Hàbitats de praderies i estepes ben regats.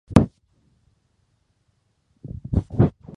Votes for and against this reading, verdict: 0, 2, rejected